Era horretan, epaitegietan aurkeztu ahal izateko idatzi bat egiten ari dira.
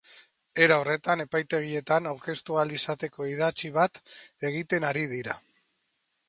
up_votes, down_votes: 2, 0